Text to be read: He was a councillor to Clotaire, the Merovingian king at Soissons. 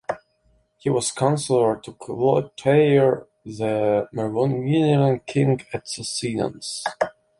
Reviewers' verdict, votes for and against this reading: rejected, 1, 2